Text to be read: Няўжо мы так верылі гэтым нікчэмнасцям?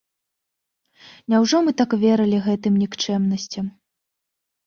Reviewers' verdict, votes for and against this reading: accepted, 2, 0